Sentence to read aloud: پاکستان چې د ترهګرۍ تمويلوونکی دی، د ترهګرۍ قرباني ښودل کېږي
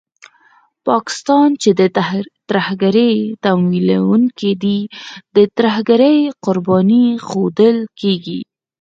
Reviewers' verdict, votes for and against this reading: accepted, 4, 0